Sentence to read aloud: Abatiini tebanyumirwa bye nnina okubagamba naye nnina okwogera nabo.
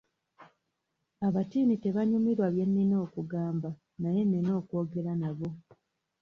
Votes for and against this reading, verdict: 2, 0, accepted